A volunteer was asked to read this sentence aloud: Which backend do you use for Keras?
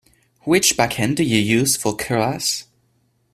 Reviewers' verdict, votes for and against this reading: accepted, 2, 0